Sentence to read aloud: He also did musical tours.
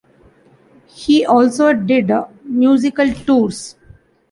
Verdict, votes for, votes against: accepted, 2, 0